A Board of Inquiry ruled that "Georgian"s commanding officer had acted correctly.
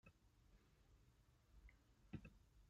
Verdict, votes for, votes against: rejected, 0, 2